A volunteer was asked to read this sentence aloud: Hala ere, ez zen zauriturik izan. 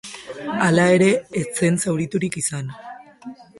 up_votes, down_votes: 2, 0